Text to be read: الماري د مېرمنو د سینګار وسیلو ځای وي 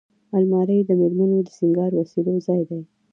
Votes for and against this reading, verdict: 0, 2, rejected